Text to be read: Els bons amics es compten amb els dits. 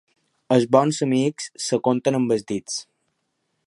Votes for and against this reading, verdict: 2, 0, accepted